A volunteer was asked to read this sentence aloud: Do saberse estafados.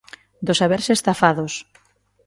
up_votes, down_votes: 2, 0